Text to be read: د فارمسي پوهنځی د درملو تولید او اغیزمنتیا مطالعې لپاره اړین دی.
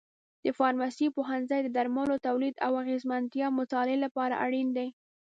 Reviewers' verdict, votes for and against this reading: accepted, 2, 0